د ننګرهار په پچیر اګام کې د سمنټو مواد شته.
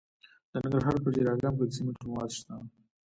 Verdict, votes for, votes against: accepted, 2, 1